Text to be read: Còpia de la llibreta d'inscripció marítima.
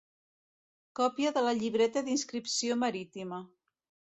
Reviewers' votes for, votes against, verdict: 2, 0, accepted